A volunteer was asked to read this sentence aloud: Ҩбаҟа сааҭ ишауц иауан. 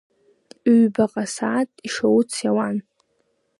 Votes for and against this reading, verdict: 2, 0, accepted